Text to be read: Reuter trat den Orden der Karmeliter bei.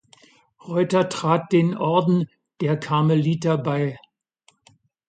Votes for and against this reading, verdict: 2, 0, accepted